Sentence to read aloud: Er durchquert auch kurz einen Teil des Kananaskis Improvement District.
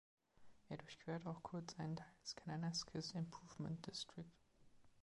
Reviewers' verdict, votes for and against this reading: rejected, 1, 2